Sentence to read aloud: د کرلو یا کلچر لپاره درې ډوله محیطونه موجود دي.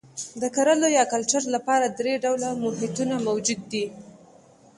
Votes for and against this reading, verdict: 2, 0, accepted